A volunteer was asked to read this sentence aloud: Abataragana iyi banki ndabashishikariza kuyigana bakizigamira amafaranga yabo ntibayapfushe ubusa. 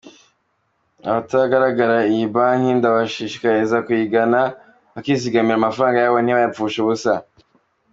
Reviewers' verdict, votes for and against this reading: accepted, 2, 1